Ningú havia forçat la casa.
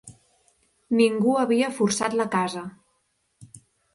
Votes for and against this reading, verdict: 6, 0, accepted